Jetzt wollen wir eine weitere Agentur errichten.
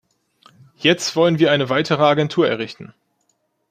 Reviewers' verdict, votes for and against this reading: accepted, 2, 0